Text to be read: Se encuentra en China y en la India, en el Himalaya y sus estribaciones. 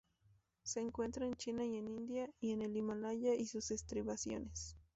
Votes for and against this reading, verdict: 2, 0, accepted